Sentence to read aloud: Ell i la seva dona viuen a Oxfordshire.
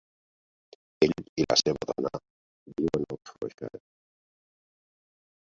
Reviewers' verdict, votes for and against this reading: rejected, 0, 2